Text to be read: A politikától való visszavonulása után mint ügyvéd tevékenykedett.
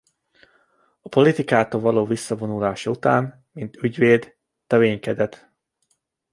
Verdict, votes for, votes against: rejected, 0, 2